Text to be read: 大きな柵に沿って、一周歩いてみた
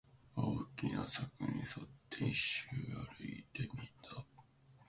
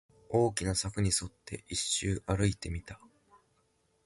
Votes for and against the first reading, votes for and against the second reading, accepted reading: 1, 2, 2, 0, second